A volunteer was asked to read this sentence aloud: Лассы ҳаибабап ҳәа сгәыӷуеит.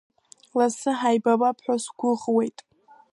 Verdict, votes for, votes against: accepted, 2, 0